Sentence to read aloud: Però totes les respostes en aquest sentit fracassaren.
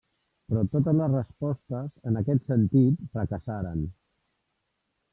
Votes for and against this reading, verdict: 1, 2, rejected